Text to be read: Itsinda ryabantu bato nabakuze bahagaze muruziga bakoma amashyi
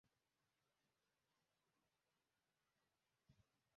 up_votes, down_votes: 0, 2